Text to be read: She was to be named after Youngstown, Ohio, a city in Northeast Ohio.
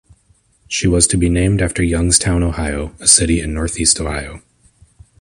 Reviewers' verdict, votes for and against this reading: accepted, 2, 0